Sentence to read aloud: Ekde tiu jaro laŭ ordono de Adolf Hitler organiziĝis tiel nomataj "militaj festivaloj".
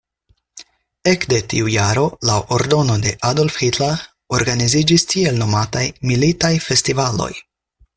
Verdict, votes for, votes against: accepted, 4, 0